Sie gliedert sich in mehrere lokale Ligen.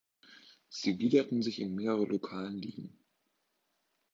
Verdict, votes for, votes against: rejected, 0, 3